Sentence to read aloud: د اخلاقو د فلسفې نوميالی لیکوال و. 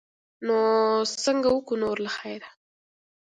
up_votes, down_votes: 1, 2